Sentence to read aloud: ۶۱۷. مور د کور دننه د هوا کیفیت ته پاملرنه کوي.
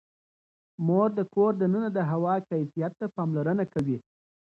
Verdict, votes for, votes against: rejected, 0, 2